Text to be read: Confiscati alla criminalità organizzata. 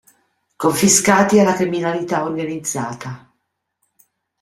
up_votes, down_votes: 2, 0